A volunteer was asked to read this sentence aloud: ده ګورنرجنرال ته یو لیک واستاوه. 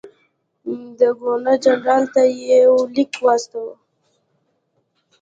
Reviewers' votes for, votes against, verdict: 2, 0, accepted